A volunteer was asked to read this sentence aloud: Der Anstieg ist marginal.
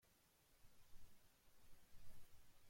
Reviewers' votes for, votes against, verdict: 0, 2, rejected